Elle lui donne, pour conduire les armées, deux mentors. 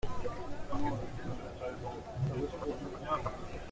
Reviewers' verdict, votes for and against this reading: rejected, 0, 2